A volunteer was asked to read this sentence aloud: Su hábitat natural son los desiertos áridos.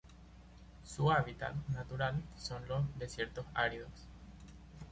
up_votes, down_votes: 0, 2